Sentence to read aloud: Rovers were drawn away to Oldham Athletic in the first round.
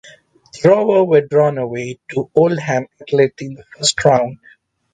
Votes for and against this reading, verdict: 0, 2, rejected